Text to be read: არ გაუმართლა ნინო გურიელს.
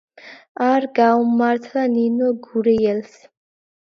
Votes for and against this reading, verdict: 2, 0, accepted